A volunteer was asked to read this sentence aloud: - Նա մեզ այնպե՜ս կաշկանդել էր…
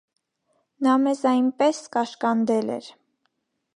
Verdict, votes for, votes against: rejected, 1, 2